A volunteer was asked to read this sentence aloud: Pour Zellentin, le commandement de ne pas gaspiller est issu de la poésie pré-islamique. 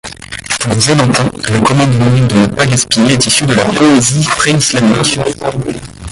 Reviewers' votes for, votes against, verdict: 1, 2, rejected